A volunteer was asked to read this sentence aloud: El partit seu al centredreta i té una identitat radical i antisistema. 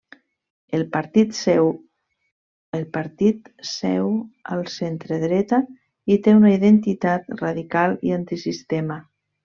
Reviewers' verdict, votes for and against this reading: rejected, 0, 2